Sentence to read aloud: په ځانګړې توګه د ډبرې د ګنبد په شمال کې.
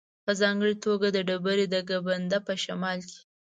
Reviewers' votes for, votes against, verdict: 0, 2, rejected